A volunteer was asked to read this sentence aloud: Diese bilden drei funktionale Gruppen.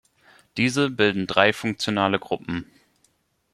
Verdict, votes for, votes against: accepted, 2, 0